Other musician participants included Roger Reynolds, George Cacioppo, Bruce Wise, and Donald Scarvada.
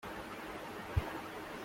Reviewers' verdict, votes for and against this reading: rejected, 0, 2